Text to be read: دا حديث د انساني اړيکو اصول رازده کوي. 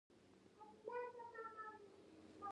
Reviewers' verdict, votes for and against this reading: rejected, 0, 2